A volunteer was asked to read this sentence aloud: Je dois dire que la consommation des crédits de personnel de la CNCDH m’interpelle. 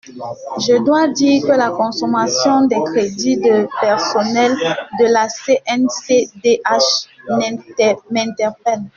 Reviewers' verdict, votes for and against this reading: rejected, 1, 2